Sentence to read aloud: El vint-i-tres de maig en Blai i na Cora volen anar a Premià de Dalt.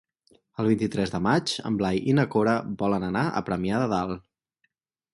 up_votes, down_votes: 4, 0